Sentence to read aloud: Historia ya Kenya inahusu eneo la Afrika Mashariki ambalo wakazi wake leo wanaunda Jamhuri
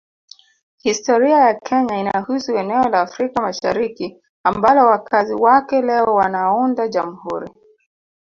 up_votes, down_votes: 3, 0